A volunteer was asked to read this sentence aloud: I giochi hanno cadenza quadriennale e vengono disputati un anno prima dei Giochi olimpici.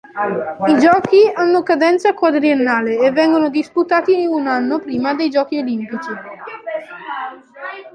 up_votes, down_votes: 1, 2